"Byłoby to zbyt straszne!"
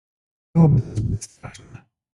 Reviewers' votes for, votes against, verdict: 0, 2, rejected